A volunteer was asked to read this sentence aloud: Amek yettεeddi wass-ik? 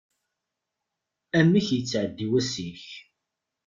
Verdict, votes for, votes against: accepted, 2, 0